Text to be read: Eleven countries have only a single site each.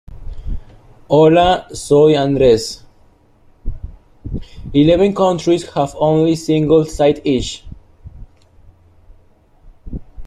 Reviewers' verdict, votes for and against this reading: rejected, 0, 2